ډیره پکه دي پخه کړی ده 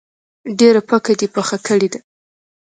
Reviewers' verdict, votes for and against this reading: accepted, 2, 1